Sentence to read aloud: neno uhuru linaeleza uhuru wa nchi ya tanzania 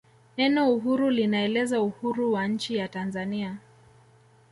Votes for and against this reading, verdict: 2, 0, accepted